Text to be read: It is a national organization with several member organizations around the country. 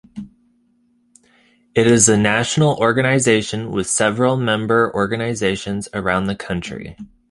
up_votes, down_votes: 2, 0